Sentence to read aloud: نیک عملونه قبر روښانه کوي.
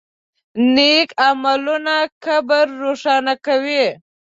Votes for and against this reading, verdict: 2, 0, accepted